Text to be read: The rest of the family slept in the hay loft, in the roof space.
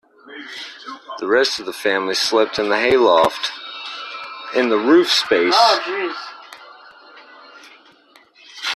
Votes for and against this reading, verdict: 2, 0, accepted